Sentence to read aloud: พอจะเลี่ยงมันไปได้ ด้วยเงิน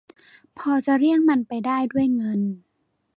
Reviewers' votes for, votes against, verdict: 2, 0, accepted